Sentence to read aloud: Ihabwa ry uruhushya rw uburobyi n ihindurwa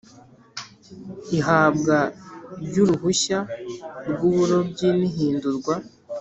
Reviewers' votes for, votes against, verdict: 3, 0, accepted